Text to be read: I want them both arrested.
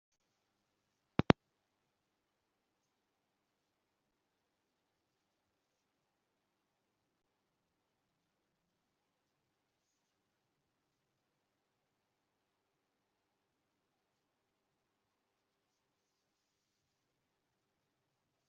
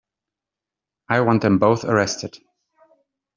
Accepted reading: second